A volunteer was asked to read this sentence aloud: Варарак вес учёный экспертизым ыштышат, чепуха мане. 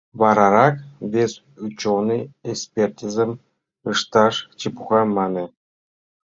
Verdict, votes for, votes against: rejected, 0, 3